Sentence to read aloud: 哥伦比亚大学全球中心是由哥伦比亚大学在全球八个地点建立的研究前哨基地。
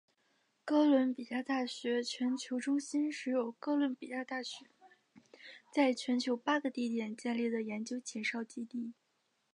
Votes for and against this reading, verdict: 3, 2, accepted